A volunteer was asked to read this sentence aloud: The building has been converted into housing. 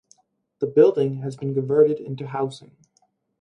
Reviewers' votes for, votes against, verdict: 4, 0, accepted